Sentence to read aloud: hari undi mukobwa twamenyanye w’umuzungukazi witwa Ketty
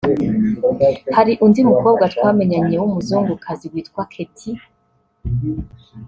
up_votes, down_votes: 1, 2